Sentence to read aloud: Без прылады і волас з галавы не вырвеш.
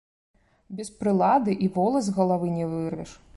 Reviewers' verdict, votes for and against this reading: accepted, 2, 0